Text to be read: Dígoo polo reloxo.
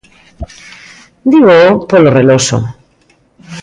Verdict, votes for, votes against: accepted, 2, 1